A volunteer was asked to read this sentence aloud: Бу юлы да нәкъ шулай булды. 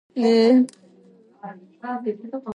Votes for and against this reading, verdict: 0, 2, rejected